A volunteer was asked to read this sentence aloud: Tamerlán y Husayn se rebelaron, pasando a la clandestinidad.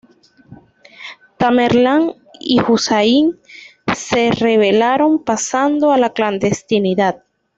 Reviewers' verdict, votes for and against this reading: accepted, 2, 1